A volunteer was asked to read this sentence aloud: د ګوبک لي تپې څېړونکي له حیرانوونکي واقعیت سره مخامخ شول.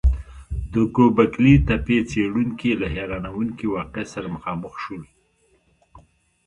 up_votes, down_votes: 1, 2